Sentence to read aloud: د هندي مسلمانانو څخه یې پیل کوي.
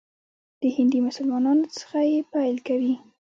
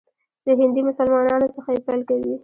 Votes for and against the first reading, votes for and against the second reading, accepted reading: 2, 0, 1, 2, first